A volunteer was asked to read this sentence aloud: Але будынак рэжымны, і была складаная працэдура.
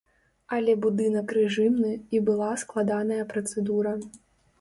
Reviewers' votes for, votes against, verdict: 2, 0, accepted